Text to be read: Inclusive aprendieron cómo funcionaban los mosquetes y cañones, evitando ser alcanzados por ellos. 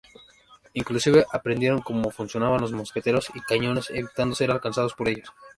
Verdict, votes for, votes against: rejected, 0, 2